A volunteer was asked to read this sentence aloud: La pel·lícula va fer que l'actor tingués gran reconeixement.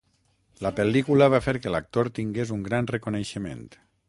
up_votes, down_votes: 0, 6